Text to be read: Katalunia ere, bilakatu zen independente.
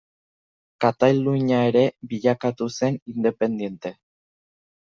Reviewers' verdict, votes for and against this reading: rejected, 0, 2